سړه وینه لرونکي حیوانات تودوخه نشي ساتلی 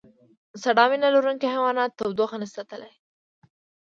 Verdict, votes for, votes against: rejected, 0, 2